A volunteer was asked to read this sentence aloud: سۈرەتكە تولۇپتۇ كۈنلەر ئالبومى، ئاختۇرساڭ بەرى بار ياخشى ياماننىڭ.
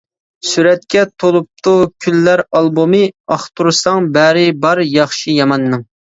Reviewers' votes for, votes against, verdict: 2, 0, accepted